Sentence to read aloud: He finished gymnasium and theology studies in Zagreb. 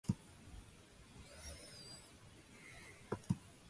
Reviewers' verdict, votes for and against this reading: rejected, 0, 2